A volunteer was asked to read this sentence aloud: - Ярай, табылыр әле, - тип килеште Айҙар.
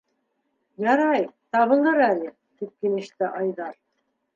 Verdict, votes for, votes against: accepted, 2, 0